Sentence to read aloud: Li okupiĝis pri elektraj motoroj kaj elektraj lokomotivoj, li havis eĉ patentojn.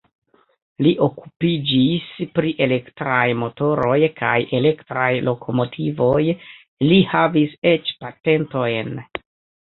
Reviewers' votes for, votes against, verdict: 2, 0, accepted